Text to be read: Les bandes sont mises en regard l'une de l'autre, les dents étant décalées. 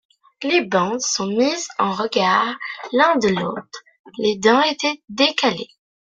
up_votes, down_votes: 2, 1